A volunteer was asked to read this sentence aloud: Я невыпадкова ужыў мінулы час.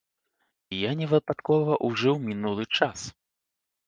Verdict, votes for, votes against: accepted, 2, 0